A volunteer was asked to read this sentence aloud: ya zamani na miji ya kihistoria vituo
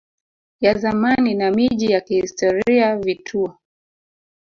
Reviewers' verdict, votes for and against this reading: rejected, 1, 2